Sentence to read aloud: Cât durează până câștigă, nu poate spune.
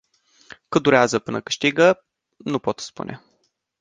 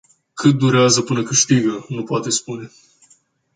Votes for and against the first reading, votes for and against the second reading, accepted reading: 0, 2, 2, 0, second